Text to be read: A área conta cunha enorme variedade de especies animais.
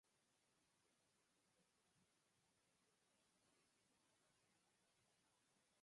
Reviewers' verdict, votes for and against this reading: rejected, 0, 4